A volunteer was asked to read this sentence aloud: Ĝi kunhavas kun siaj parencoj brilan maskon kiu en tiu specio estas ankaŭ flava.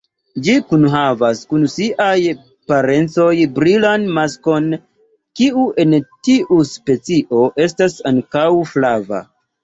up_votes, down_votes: 2, 3